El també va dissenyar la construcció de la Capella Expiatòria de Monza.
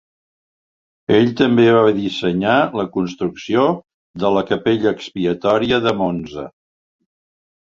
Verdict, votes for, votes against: rejected, 0, 2